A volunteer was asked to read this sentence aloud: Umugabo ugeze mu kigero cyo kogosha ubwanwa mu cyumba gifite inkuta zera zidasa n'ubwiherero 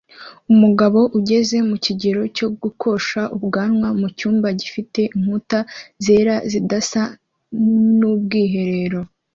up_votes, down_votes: 1, 2